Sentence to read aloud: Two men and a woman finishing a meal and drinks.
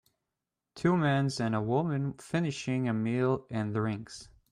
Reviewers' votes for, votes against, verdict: 0, 2, rejected